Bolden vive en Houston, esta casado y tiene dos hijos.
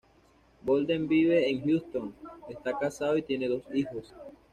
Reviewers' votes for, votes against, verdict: 2, 1, accepted